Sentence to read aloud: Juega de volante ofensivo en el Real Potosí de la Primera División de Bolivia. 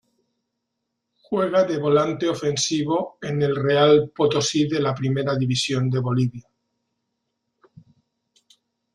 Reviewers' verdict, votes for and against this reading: accepted, 2, 1